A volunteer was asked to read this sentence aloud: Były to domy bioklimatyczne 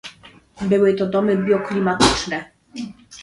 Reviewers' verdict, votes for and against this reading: rejected, 0, 2